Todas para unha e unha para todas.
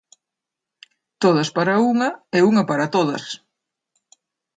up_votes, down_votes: 2, 0